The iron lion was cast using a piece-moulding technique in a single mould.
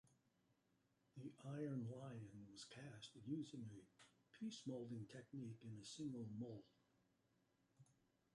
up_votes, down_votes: 0, 2